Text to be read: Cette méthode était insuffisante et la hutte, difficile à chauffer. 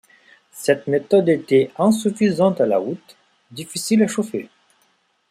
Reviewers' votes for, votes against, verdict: 0, 2, rejected